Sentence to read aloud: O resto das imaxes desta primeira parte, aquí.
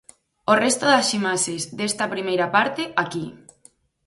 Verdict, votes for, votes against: accepted, 4, 0